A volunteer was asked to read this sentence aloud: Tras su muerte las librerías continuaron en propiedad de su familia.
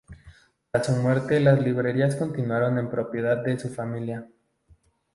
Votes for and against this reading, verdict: 2, 0, accepted